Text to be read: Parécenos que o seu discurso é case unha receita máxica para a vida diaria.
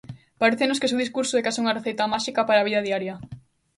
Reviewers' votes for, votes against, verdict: 2, 0, accepted